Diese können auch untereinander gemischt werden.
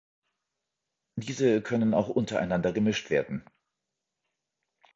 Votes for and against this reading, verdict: 3, 0, accepted